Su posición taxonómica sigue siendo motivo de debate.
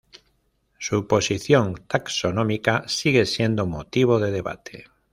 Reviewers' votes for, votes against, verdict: 2, 0, accepted